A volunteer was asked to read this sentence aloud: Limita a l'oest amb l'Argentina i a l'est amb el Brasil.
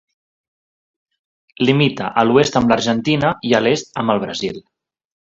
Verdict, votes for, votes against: accepted, 2, 0